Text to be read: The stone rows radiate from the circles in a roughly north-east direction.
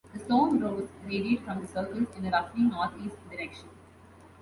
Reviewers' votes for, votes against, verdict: 0, 2, rejected